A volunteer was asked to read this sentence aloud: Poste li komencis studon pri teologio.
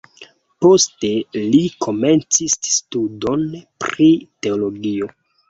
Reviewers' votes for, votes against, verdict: 2, 1, accepted